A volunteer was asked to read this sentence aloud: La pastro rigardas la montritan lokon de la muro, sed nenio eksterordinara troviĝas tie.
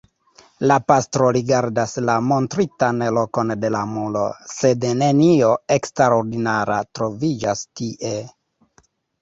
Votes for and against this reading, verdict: 1, 3, rejected